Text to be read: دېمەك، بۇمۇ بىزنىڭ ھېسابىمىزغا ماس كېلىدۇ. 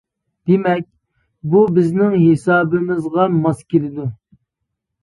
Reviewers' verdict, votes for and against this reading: rejected, 0, 2